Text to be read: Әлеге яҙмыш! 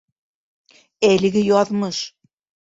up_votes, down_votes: 2, 1